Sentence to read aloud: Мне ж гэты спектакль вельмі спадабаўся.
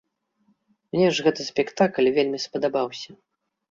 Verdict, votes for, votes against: accepted, 2, 0